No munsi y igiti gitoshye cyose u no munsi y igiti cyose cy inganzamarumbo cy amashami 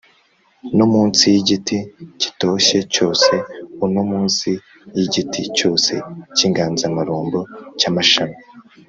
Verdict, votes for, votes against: accepted, 2, 0